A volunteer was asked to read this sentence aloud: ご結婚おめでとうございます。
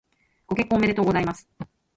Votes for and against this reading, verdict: 2, 3, rejected